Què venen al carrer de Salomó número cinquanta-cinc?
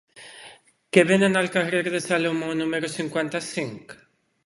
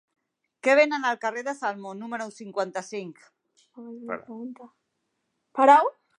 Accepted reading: first